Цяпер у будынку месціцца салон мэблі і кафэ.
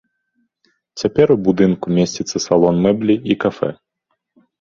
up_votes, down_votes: 2, 0